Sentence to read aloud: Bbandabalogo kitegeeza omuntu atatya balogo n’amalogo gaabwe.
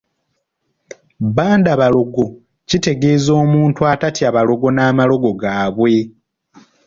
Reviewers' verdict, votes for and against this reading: accepted, 2, 0